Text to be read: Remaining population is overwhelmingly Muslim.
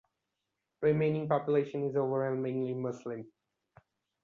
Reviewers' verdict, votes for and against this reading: accepted, 2, 1